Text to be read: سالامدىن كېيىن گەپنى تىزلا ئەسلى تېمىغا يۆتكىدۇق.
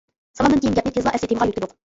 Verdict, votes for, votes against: rejected, 0, 2